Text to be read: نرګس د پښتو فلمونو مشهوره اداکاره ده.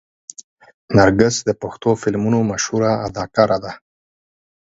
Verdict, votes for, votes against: accepted, 12, 6